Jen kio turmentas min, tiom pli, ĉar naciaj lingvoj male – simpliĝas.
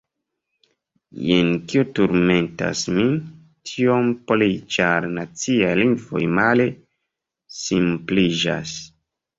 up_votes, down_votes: 1, 2